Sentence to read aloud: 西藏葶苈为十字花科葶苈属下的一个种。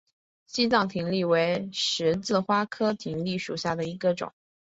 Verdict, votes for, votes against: accepted, 5, 0